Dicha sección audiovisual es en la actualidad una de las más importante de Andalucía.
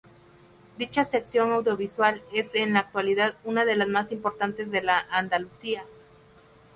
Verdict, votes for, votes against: rejected, 0, 2